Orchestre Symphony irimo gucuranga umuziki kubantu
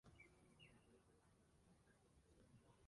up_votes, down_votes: 0, 2